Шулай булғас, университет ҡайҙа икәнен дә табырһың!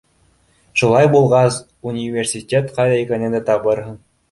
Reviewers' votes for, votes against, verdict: 2, 1, accepted